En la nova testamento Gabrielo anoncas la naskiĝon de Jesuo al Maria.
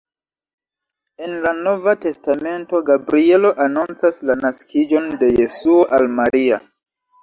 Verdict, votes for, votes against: accepted, 2, 0